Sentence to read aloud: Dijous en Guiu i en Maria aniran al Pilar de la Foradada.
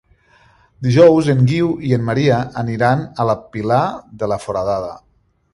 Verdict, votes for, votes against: rejected, 1, 2